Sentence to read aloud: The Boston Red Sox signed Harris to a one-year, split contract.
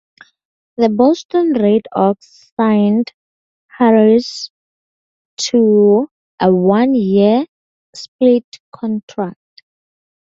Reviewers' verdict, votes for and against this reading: rejected, 0, 4